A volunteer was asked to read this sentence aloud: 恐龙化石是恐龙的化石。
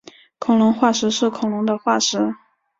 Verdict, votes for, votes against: accepted, 2, 0